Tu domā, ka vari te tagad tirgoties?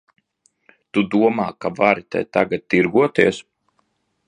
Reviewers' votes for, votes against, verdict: 2, 0, accepted